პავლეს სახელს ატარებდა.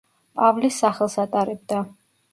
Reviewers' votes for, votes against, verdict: 0, 2, rejected